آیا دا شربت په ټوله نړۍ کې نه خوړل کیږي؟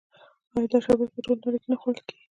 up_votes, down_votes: 0, 2